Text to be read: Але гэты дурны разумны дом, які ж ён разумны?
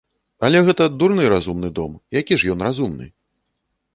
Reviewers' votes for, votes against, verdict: 1, 2, rejected